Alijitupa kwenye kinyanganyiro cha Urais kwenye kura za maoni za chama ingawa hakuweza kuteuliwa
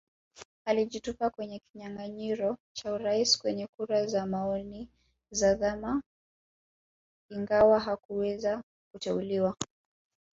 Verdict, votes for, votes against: rejected, 3, 4